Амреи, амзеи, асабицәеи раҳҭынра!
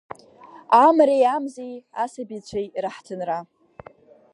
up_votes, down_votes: 2, 0